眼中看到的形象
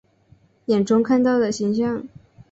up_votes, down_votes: 8, 0